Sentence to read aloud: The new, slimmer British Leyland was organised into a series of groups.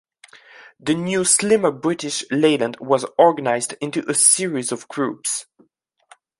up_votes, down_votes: 1, 2